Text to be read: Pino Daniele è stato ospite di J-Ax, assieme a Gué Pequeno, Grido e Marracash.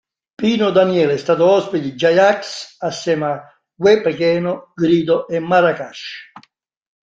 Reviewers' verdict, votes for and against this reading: rejected, 1, 2